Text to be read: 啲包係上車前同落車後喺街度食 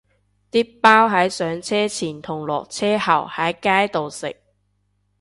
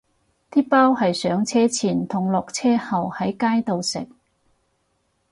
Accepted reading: second